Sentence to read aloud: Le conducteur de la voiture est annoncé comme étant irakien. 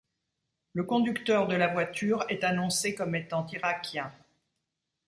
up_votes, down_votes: 2, 0